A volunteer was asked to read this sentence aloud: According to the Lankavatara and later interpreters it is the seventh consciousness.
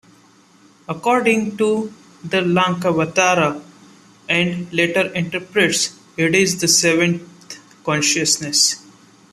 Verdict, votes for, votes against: rejected, 0, 2